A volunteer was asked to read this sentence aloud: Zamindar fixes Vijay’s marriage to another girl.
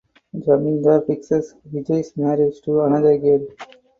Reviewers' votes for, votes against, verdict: 0, 4, rejected